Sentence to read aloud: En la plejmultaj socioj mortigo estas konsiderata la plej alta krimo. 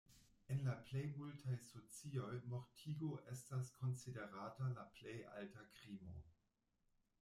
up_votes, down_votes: 2, 0